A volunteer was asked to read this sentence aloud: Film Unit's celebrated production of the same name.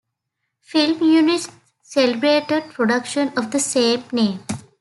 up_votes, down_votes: 1, 2